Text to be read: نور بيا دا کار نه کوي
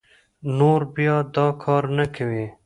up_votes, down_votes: 1, 2